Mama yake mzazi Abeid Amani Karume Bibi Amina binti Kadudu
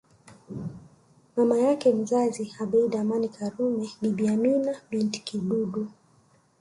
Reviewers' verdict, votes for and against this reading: rejected, 1, 2